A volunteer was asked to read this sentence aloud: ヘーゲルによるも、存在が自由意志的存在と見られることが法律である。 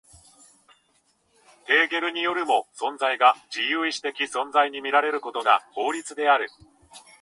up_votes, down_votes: 2, 1